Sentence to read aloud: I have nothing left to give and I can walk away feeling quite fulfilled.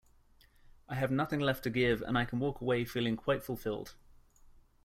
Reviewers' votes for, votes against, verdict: 2, 0, accepted